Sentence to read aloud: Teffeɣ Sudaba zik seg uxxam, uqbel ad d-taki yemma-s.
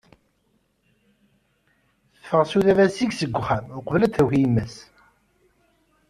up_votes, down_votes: 2, 1